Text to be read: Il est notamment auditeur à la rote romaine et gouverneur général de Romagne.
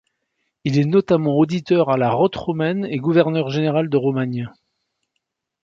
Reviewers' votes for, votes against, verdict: 1, 2, rejected